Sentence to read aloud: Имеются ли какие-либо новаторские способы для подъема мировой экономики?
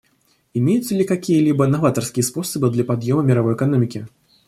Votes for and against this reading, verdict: 2, 0, accepted